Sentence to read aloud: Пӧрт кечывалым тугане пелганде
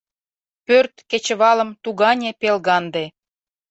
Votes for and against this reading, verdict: 2, 0, accepted